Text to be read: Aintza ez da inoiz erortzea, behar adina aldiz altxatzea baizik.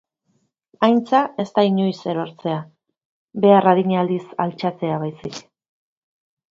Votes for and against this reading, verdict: 5, 0, accepted